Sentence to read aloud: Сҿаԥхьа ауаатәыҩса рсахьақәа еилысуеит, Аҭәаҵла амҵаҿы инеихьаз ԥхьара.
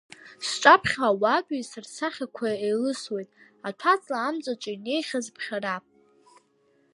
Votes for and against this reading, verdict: 1, 2, rejected